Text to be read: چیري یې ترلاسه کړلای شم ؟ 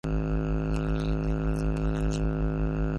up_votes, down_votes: 0, 2